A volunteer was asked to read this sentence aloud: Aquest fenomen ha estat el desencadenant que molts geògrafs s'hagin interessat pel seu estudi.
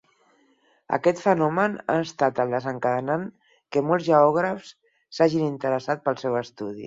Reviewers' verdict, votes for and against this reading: accepted, 4, 0